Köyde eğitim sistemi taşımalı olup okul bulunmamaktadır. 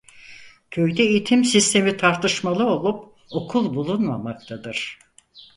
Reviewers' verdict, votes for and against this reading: rejected, 2, 4